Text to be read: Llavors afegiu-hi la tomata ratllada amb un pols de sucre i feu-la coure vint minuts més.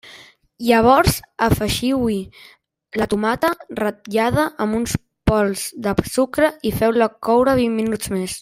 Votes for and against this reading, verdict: 1, 2, rejected